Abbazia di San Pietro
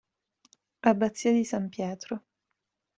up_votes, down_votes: 2, 1